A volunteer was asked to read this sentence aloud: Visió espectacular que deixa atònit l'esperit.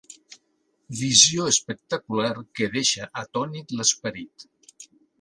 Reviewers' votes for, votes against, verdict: 4, 0, accepted